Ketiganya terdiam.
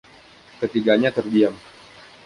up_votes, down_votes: 2, 0